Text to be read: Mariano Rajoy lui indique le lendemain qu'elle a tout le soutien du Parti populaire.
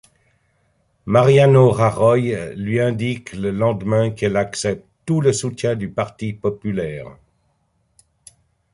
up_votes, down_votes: 0, 2